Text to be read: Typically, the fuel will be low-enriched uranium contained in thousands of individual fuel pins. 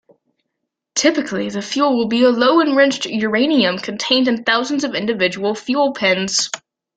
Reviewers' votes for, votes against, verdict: 2, 1, accepted